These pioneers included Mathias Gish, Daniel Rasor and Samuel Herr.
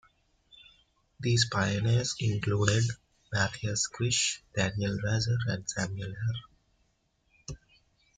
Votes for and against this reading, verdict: 0, 2, rejected